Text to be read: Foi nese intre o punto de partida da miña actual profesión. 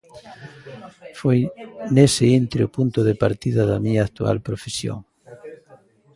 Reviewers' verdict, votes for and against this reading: rejected, 1, 2